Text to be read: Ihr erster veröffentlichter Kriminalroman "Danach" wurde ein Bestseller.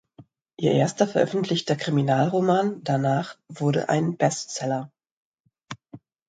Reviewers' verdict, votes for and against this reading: accepted, 2, 0